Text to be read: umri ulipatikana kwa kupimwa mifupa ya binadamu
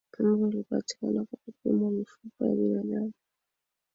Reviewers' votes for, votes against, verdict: 0, 2, rejected